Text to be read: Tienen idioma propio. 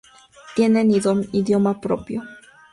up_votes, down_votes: 2, 0